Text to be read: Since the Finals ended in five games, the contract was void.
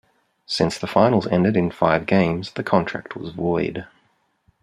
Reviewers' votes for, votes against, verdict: 0, 2, rejected